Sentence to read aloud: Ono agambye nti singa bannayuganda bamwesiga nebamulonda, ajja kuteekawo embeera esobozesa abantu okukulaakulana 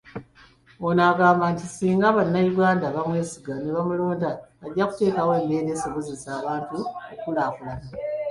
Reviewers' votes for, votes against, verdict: 2, 0, accepted